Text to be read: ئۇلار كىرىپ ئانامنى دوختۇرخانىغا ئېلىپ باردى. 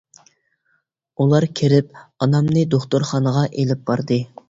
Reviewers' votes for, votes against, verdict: 2, 0, accepted